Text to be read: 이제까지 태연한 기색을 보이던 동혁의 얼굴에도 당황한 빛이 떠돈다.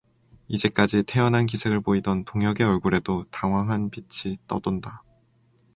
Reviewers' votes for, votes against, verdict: 2, 0, accepted